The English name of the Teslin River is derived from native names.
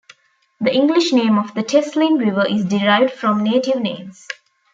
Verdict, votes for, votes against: accepted, 2, 0